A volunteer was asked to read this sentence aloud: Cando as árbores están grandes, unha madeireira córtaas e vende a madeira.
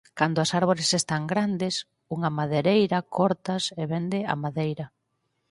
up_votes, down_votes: 2, 4